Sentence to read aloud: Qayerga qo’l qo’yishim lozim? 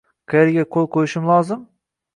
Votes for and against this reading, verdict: 1, 2, rejected